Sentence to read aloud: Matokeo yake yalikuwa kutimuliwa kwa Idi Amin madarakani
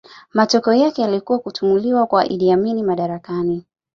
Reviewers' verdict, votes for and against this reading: accepted, 2, 0